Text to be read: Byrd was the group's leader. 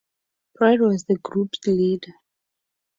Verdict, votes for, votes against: accepted, 4, 2